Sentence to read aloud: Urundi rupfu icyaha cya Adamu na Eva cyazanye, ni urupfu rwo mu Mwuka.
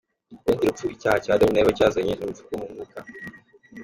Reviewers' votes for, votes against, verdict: 2, 1, accepted